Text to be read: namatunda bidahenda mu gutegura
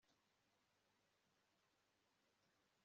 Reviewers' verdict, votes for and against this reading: rejected, 0, 2